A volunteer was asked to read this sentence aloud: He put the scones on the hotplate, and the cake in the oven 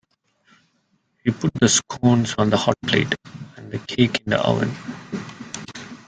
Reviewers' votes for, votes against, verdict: 2, 1, accepted